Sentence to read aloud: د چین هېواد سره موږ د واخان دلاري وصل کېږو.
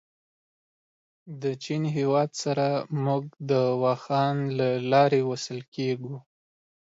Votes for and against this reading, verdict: 2, 0, accepted